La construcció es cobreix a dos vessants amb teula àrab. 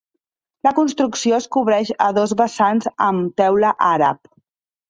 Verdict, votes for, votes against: accepted, 2, 0